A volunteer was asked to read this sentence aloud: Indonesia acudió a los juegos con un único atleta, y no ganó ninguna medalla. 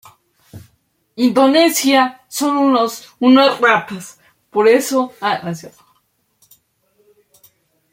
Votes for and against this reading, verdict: 0, 2, rejected